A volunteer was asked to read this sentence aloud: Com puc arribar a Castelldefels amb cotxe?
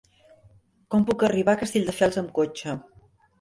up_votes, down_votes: 1, 2